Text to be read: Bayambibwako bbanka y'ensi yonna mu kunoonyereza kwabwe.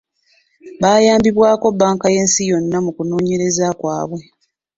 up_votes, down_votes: 2, 0